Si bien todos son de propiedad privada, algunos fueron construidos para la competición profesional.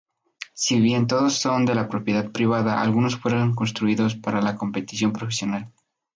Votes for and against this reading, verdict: 0, 2, rejected